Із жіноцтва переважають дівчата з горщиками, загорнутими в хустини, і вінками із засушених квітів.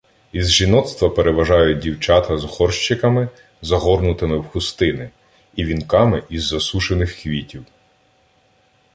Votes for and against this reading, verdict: 2, 0, accepted